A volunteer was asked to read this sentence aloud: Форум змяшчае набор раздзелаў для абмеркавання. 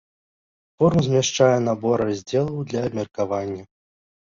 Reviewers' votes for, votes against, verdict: 1, 2, rejected